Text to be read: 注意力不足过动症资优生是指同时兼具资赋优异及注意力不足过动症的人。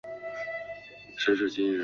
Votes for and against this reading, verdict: 2, 0, accepted